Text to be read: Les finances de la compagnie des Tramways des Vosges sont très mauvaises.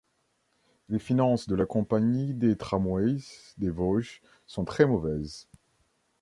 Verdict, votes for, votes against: rejected, 1, 2